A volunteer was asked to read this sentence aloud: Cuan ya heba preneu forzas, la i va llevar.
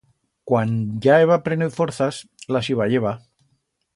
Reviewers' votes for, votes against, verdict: 1, 2, rejected